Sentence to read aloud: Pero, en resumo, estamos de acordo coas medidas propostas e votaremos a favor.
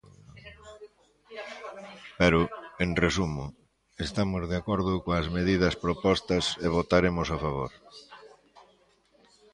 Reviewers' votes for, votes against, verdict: 1, 2, rejected